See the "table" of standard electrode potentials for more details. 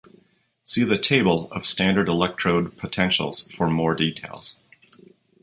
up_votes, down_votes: 2, 0